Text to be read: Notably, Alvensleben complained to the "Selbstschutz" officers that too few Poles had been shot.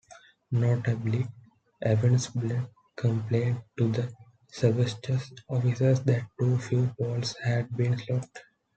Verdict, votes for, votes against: rejected, 0, 2